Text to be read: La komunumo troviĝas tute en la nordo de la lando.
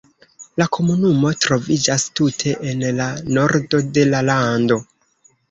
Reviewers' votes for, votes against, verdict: 0, 2, rejected